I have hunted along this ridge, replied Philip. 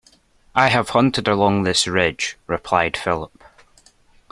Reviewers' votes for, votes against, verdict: 2, 0, accepted